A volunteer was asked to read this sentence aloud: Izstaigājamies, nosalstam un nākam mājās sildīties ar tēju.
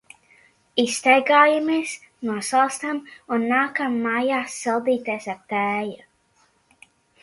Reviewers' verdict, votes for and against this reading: accepted, 2, 0